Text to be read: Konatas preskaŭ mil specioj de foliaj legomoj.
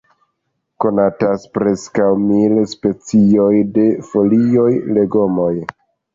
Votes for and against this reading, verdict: 0, 3, rejected